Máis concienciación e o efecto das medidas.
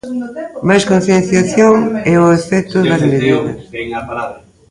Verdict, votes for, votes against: rejected, 0, 2